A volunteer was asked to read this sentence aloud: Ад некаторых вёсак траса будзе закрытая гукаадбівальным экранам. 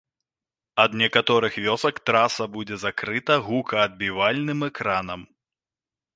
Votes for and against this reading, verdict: 0, 2, rejected